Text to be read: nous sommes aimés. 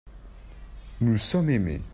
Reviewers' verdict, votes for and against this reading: accepted, 2, 1